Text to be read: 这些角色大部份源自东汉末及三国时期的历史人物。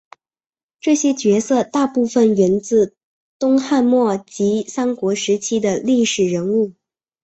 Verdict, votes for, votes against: accepted, 2, 0